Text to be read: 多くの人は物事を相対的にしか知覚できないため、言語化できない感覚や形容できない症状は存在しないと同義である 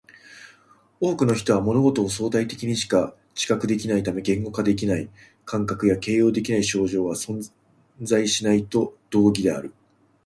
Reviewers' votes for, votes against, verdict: 2, 1, accepted